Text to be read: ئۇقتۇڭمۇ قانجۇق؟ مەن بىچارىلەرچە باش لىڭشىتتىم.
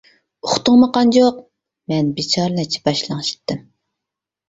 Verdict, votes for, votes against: rejected, 0, 2